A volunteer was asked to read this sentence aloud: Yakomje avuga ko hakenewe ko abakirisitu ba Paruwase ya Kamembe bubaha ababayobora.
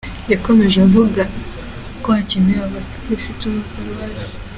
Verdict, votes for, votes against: rejected, 0, 2